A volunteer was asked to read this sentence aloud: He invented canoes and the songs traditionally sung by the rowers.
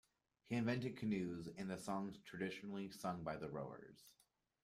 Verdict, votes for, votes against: accepted, 2, 0